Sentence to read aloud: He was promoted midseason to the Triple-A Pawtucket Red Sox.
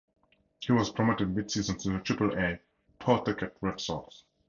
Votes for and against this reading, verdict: 4, 0, accepted